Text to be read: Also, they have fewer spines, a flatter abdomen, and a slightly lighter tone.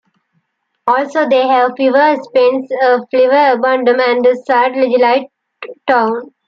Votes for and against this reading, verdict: 0, 2, rejected